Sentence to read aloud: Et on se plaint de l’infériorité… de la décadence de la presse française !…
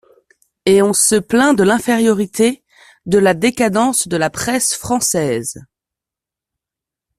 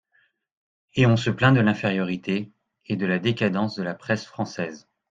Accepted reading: first